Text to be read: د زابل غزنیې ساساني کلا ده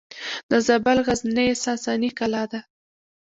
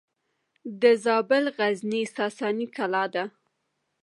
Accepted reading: first